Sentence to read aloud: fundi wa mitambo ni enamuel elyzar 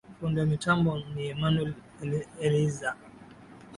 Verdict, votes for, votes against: accepted, 2, 0